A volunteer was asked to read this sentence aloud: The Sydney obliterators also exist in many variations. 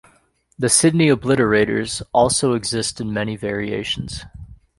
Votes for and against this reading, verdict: 2, 0, accepted